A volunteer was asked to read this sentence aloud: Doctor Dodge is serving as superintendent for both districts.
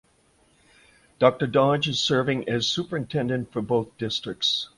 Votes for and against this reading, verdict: 2, 0, accepted